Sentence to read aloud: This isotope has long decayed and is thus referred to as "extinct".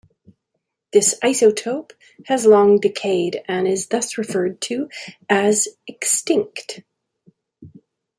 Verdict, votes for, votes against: accepted, 2, 1